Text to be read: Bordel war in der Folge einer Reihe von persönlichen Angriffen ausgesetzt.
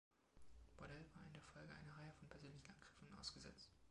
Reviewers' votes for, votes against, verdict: 2, 1, accepted